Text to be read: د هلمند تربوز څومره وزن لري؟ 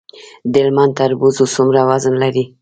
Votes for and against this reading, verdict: 0, 2, rejected